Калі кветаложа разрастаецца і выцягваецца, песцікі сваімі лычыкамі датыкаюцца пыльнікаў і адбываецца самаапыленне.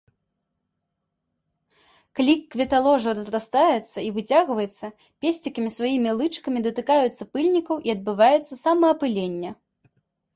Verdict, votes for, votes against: accepted, 2, 0